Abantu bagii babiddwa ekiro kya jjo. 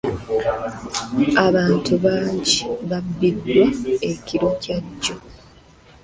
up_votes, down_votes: 0, 2